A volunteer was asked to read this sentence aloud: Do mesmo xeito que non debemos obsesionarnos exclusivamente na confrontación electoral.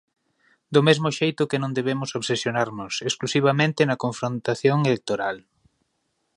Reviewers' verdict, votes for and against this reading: accepted, 3, 1